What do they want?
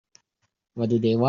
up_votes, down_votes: 0, 2